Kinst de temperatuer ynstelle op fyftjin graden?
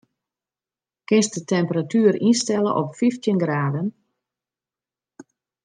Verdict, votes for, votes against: accepted, 2, 0